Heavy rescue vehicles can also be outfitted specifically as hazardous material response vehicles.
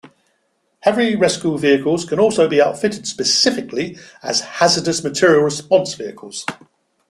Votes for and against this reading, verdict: 2, 0, accepted